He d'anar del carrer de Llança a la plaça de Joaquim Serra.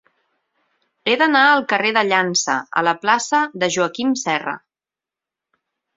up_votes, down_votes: 0, 4